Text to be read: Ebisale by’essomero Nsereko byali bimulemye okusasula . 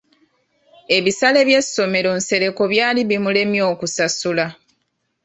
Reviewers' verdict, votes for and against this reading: accepted, 2, 0